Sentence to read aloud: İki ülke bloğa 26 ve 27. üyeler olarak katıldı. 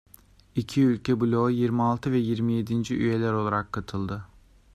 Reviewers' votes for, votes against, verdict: 0, 2, rejected